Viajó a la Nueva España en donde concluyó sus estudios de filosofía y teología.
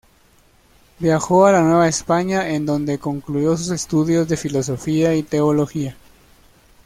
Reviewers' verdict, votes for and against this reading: accepted, 2, 0